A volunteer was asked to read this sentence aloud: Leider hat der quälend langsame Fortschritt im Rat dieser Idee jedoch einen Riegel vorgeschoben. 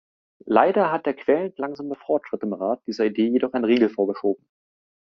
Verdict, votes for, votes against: accepted, 3, 0